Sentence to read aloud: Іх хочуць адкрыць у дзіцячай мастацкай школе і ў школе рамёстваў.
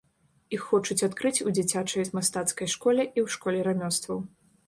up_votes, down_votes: 1, 2